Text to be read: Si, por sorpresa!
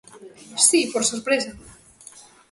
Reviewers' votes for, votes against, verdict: 2, 0, accepted